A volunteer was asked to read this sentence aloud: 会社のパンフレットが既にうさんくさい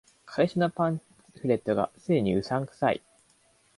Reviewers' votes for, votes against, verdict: 1, 2, rejected